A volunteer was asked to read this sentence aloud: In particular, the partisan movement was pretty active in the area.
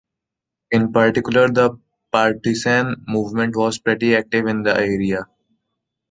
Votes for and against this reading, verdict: 2, 1, accepted